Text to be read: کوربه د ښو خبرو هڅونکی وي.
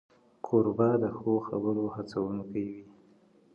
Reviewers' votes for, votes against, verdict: 2, 0, accepted